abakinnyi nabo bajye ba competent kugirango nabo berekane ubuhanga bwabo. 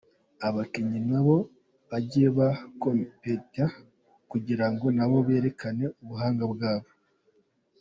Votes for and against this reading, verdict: 2, 0, accepted